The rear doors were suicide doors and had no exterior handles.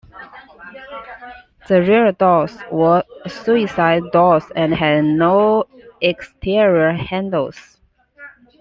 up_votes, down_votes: 2, 1